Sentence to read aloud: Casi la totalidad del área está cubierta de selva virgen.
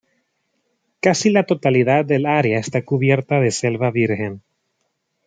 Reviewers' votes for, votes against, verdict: 2, 0, accepted